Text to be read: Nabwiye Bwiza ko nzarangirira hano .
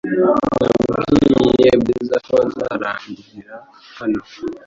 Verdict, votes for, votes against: rejected, 1, 2